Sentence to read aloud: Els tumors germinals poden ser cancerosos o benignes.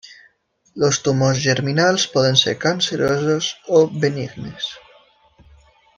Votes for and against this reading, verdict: 3, 1, accepted